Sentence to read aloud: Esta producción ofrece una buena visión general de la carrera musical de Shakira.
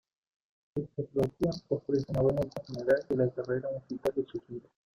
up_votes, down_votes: 0, 2